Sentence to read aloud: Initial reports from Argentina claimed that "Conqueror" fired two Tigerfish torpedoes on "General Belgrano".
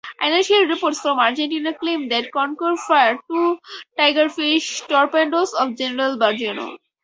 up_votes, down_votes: 0, 2